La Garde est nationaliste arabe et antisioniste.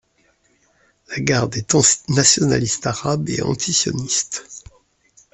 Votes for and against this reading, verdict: 0, 2, rejected